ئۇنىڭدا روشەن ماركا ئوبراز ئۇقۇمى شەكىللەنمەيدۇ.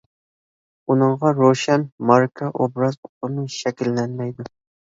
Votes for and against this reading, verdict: 0, 2, rejected